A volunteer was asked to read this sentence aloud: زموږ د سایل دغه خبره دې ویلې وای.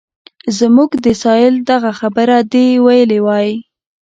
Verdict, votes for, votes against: accepted, 2, 0